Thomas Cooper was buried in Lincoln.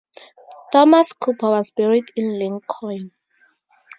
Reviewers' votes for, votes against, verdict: 4, 0, accepted